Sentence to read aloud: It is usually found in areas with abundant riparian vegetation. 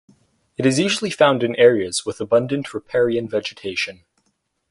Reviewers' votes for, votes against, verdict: 4, 0, accepted